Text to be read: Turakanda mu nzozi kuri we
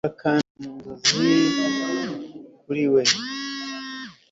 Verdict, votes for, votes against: accepted, 2, 1